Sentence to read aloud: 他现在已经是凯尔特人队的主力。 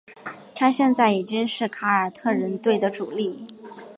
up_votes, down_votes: 7, 0